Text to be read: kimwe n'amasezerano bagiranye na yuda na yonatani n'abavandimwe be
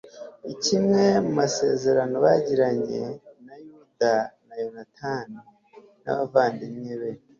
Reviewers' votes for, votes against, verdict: 2, 0, accepted